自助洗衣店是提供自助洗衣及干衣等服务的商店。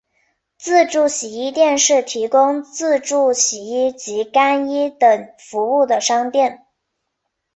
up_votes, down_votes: 3, 0